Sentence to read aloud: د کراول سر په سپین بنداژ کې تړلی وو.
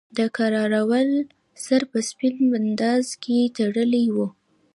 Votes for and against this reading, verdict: 2, 0, accepted